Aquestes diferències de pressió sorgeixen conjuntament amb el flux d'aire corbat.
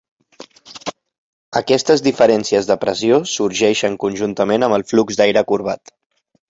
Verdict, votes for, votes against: rejected, 1, 2